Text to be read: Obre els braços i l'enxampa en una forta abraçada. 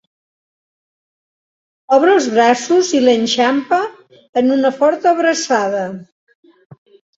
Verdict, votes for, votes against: accepted, 2, 0